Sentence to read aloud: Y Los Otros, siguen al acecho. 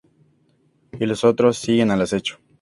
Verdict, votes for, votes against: rejected, 0, 2